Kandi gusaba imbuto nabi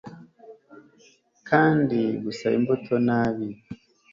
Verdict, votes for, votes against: accepted, 2, 0